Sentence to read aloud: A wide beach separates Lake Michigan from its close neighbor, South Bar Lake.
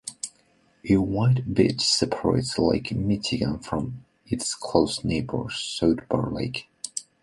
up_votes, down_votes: 2, 0